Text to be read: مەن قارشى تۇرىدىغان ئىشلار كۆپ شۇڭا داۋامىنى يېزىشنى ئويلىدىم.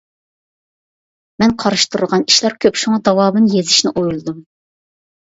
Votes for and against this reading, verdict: 2, 0, accepted